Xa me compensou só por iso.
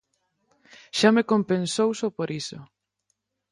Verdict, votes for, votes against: accepted, 6, 0